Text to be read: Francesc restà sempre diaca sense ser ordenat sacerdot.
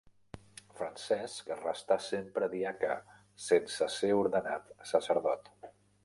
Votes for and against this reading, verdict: 3, 0, accepted